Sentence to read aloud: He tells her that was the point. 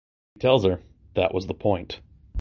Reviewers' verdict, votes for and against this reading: rejected, 0, 2